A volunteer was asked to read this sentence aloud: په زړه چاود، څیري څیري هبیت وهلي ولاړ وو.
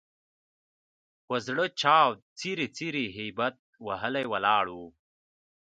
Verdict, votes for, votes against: rejected, 0, 2